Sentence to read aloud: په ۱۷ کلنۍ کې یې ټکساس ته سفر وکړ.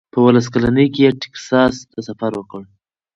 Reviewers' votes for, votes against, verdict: 0, 2, rejected